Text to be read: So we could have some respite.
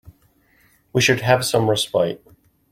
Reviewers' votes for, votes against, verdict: 0, 2, rejected